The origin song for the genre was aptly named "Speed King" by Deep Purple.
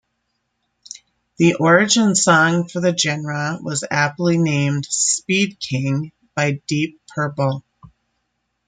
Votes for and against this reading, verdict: 2, 0, accepted